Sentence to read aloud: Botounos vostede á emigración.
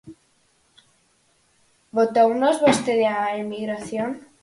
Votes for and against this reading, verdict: 2, 4, rejected